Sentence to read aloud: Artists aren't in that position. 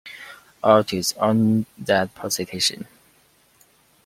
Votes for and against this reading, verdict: 1, 2, rejected